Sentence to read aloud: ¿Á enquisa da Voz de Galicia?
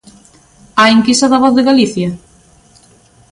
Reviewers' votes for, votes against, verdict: 2, 0, accepted